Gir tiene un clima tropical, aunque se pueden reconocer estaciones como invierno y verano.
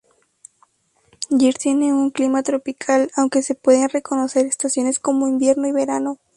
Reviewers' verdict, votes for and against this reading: rejected, 0, 2